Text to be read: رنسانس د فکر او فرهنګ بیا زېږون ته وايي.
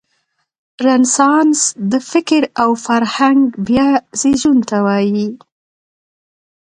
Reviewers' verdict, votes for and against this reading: accepted, 2, 0